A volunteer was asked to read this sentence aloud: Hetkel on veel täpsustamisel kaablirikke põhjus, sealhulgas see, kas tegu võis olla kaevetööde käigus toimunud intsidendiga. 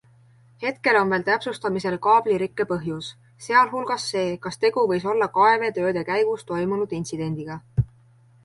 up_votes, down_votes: 2, 1